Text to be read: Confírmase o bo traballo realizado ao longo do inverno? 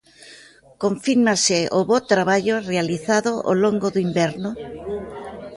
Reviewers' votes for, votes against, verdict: 2, 0, accepted